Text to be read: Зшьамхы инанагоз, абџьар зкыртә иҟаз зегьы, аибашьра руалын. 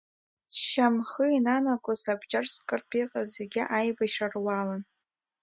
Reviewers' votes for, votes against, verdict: 1, 2, rejected